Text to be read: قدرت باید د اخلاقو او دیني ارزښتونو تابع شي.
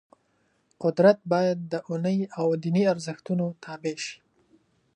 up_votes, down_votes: 0, 2